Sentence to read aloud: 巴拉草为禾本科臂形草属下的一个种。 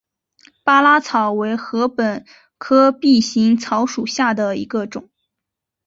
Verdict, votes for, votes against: accepted, 2, 0